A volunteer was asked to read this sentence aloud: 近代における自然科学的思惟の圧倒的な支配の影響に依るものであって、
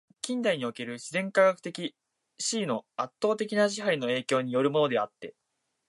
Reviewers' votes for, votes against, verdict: 2, 0, accepted